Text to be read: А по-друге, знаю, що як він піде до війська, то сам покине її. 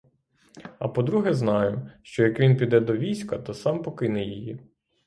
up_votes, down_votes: 3, 0